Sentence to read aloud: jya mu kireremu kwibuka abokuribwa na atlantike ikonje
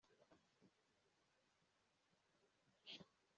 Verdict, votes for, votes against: rejected, 1, 2